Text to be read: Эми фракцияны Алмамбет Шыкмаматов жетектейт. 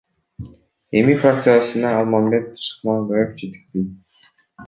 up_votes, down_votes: 0, 2